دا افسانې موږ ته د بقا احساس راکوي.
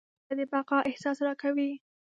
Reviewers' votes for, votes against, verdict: 1, 2, rejected